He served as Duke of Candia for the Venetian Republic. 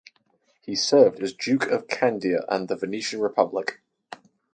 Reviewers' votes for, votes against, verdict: 2, 4, rejected